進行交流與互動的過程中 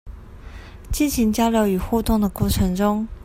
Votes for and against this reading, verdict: 2, 0, accepted